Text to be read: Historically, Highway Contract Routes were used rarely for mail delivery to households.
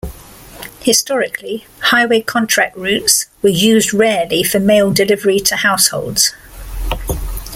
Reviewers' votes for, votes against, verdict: 1, 2, rejected